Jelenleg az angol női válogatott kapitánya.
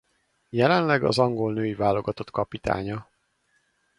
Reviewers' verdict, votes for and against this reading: accepted, 4, 0